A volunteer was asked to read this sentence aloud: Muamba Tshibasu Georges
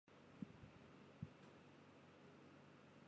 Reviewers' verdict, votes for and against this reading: rejected, 0, 2